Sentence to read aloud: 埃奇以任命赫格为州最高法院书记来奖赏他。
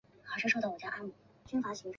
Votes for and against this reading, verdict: 0, 4, rejected